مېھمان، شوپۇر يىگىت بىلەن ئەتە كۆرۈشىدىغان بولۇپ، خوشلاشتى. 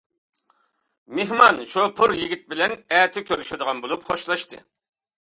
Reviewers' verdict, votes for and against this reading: accepted, 2, 0